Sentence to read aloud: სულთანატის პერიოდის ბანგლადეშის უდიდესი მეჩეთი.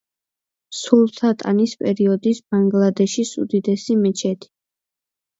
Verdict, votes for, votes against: rejected, 1, 2